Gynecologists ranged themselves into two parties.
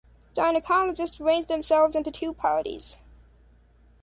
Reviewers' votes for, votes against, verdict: 3, 0, accepted